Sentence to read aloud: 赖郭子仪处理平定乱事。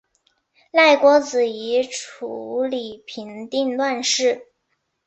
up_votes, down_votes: 3, 0